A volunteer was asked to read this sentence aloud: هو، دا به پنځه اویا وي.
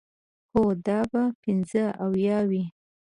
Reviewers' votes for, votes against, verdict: 2, 0, accepted